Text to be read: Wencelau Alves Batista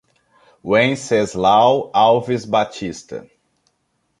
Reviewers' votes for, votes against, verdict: 0, 2, rejected